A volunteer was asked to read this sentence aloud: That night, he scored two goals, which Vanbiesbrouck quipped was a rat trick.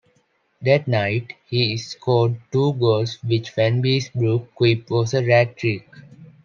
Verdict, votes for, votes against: accepted, 2, 0